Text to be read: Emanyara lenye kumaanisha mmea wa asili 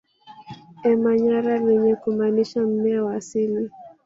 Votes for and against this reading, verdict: 1, 2, rejected